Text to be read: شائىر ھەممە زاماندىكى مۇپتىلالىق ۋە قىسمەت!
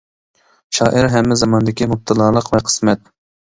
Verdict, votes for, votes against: accepted, 2, 0